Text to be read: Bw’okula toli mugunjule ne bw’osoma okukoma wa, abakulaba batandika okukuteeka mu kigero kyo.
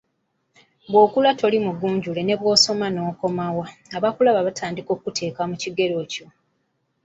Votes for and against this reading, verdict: 2, 0, accepted